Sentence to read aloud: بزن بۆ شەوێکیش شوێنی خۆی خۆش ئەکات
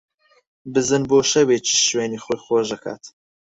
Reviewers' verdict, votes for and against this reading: accepted, 6, 4